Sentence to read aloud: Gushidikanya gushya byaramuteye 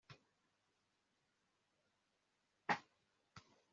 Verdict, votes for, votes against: rejected, 1, 2